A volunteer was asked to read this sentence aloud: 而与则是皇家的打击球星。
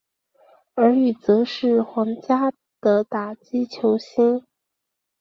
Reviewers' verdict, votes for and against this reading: accepted, 2, 0